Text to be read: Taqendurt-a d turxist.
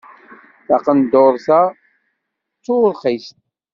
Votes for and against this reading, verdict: 2, 0, accepted